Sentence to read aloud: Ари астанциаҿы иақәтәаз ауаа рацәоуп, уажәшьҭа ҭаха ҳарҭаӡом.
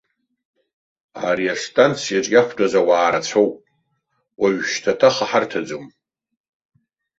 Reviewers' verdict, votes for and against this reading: accepted, 2, 0